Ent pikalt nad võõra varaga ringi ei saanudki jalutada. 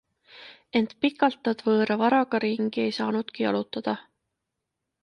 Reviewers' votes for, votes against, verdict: 2, 0, accepted